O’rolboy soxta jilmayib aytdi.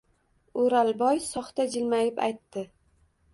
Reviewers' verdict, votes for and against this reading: rejected, 1, 2